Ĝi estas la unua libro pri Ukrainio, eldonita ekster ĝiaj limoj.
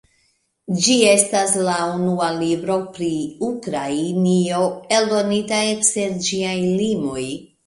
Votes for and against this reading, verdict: 2, 0, accepted